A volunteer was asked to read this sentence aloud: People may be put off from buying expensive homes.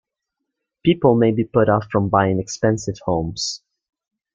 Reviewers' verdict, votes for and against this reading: accepted, 2, 0